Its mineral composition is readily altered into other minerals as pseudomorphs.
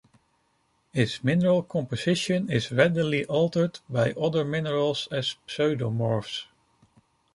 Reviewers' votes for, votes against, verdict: 0, 2, rejected